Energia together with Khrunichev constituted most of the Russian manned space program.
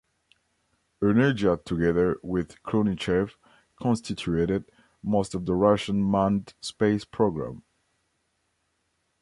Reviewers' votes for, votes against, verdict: 1, 2, rejected